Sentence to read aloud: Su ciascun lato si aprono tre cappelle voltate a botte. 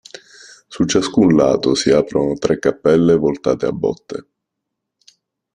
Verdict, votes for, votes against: rejected, 0, 2